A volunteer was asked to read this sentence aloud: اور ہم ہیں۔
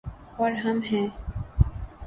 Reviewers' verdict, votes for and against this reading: accepted, 2, 0